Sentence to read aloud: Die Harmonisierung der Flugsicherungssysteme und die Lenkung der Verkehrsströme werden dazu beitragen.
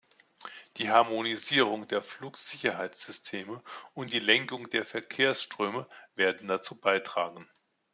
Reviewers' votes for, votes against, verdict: 0, 2, rejected